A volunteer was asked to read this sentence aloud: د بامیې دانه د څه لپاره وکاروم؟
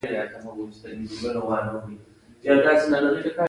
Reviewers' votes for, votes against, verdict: 1, 2, rejected